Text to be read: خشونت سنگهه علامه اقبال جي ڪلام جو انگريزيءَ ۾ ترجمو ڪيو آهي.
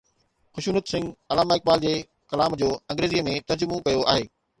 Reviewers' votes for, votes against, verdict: 2, 0, accepted